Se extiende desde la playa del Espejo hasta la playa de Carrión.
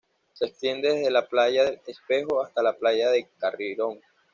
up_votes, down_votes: 1, 2